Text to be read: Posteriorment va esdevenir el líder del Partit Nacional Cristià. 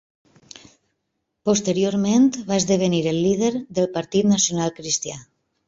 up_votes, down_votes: 4, 1